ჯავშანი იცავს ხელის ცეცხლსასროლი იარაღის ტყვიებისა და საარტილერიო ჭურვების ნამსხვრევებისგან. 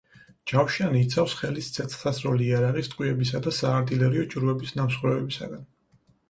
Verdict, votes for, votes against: accepted, 4, 0